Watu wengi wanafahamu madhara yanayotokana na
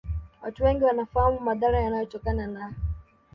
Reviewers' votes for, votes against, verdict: 2, 0, accepted